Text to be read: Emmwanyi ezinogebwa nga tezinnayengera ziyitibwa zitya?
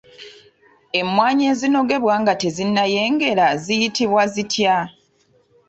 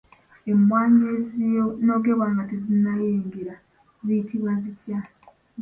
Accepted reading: first